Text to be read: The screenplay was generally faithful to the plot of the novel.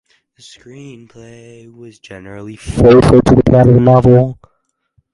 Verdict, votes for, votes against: rejected, 0, 4